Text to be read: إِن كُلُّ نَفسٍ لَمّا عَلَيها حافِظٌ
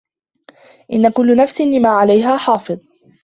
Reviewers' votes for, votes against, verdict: 0, 2, rejected